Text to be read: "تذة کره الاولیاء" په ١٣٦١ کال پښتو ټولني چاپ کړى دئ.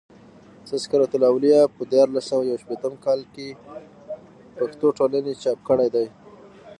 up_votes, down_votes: 0, 2